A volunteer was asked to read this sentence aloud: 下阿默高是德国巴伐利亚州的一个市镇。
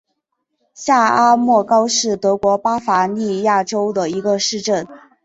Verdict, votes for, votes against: accepted, 3, 0